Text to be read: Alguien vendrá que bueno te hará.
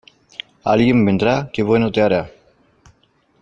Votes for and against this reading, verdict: 2, 0, accepted